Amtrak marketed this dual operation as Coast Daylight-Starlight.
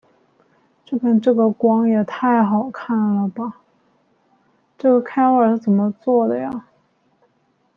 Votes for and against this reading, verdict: 0, 2, rejected